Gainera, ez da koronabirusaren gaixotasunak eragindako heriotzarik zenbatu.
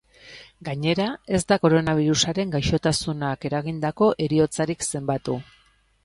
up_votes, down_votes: 2, 0